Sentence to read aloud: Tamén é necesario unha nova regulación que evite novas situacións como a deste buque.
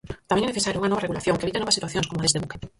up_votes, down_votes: 0, 4